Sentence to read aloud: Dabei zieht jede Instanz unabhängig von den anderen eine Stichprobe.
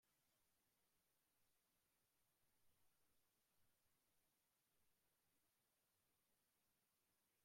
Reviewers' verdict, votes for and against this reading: rejected, 0, 2